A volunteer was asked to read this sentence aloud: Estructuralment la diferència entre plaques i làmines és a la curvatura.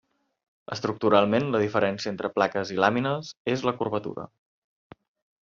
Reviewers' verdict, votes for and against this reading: rejected, 1, 2